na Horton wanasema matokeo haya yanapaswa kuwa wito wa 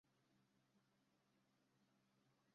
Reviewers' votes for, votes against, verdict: 0, 2, rejected